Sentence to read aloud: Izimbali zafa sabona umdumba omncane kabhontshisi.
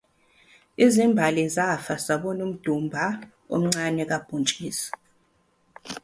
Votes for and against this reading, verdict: 0, 2, rejected